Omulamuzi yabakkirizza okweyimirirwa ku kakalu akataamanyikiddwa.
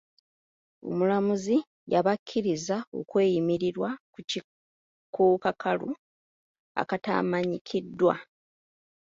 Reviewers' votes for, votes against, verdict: 1, 2, rejected